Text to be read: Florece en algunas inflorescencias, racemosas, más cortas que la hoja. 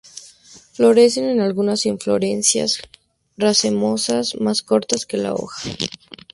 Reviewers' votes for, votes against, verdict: 2, 2, rejected